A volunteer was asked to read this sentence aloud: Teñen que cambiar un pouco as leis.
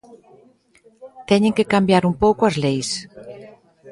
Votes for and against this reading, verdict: 2, 0, accepted